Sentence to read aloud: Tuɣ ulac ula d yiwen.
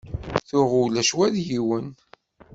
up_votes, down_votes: 1, 2